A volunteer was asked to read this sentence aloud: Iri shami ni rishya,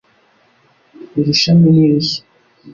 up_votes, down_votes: 3, 0